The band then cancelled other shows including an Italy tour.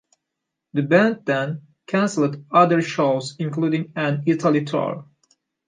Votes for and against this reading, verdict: 2, 0, accepted